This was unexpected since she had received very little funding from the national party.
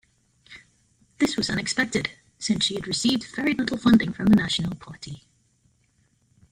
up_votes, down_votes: 2, 1